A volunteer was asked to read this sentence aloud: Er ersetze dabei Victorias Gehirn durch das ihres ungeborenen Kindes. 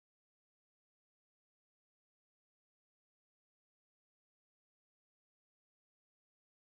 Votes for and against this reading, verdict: 0, 2, rejected